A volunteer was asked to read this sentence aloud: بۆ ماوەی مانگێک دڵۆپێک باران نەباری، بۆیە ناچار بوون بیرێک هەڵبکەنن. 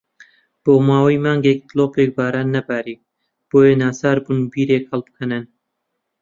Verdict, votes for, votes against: accepted, 2, 0